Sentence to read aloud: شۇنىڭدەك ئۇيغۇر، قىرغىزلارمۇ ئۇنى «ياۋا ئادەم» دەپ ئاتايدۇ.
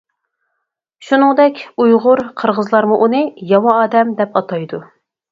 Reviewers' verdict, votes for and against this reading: accepted, 4, 0